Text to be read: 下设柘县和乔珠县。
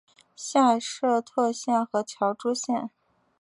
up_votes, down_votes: 2, 0